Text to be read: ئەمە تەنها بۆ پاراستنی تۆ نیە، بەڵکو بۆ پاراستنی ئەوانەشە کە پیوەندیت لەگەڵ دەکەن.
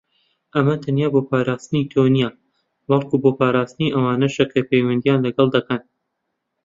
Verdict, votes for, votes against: rejected, 0, 2